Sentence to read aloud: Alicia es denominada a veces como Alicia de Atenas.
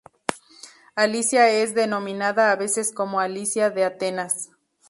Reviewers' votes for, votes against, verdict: 2, 0, accepted